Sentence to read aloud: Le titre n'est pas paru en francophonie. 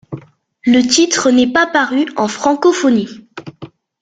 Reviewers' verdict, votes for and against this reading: accepted, 2, 0